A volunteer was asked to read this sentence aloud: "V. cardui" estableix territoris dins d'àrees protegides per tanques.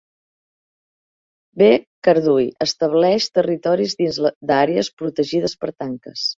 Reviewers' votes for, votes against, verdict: 0, 2, rejected